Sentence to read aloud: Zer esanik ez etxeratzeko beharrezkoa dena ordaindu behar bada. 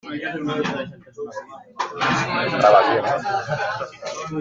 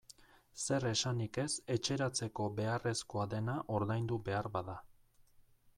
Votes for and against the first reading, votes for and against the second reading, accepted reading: 0, 2, 2, 0, second